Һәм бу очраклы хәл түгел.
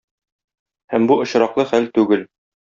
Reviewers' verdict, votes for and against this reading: accepted, 2, 0